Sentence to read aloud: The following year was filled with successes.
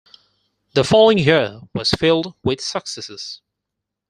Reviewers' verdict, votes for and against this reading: accepted, 4, 0